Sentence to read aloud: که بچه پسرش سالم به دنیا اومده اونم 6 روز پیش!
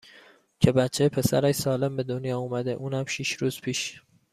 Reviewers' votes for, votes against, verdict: 0, 2, rejected